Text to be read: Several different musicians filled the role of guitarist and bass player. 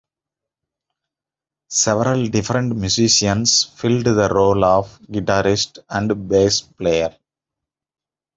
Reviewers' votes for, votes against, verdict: 2, 0, accepted